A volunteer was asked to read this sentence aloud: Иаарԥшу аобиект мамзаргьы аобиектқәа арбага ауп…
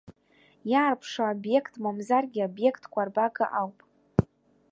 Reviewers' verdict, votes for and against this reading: rejected, 1, 2